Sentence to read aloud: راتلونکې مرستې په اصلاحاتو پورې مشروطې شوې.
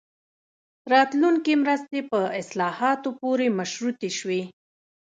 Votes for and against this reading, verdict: 1, 2, rejected